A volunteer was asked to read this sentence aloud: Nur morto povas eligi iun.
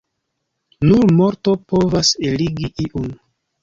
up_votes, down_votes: 2, 1